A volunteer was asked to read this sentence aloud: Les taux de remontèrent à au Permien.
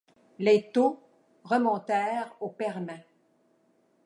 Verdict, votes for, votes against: rejected, 0, 2